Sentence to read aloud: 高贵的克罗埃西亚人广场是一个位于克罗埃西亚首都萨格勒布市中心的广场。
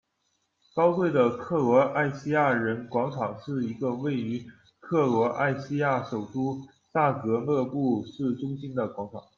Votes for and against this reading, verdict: 2, 0, accepted